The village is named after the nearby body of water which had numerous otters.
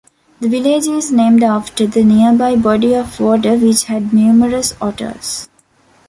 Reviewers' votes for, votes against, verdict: 2, 0, accepted